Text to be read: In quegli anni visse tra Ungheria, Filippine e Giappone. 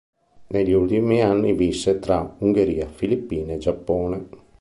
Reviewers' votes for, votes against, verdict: 1, 2, rejected